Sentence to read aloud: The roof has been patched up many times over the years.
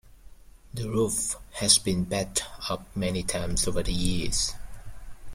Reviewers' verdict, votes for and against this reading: rejected, 0, 2